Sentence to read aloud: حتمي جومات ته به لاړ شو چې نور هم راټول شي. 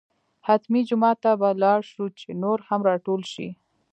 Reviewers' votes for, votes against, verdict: 3, 0, accepted